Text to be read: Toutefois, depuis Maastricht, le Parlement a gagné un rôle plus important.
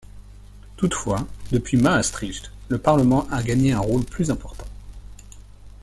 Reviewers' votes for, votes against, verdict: 2, 0, accepted